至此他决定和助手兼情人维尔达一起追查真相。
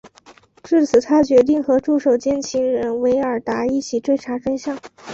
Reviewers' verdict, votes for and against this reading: accepted, 3, 0